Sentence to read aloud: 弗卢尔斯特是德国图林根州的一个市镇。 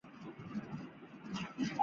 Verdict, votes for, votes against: rejected, 1, 4